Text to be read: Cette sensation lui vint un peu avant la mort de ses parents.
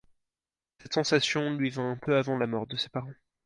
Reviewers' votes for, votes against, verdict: 2, 4, rejected